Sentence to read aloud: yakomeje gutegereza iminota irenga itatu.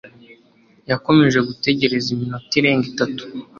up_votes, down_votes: 3, 0